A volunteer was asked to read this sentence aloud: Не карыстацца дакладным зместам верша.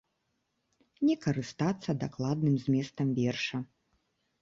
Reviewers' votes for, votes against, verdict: 2, 0, accepted